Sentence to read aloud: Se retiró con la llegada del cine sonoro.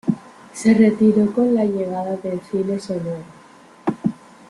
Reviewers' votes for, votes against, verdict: 2, 1, accepted